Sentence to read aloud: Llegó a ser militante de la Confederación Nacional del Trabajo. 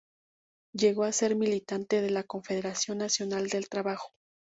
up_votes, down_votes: 4, 0